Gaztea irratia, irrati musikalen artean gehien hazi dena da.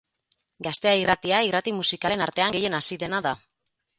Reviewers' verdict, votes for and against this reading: rejected, 2, 4